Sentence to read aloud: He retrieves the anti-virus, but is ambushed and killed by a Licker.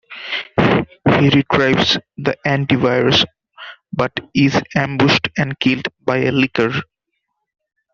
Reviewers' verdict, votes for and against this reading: rejected, 1, 2